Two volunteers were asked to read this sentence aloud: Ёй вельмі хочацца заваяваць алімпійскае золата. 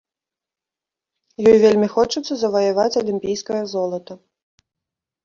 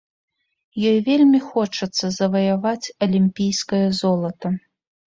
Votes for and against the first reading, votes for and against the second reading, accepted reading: 0, 2, 3, 0, second